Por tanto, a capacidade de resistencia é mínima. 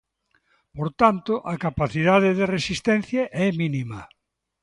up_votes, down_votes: 2, 0